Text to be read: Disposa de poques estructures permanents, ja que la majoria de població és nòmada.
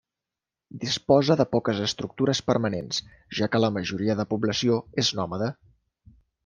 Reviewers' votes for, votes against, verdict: 3, 0, accepted